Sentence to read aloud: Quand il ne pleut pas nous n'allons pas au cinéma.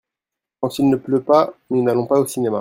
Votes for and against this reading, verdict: 2, 0, accepted